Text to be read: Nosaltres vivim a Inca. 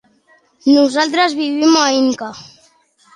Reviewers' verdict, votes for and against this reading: accepted, 3, 0